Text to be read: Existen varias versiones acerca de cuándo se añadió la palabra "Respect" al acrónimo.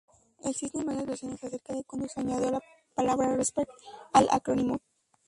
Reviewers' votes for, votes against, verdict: 2, 2, rejected